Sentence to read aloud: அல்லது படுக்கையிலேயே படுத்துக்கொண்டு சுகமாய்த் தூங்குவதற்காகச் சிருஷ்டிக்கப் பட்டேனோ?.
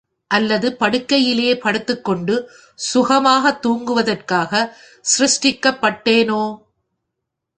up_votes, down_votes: 3, 0